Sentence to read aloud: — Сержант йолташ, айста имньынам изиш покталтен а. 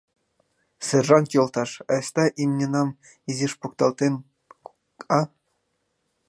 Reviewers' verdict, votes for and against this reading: rejected, 0, 2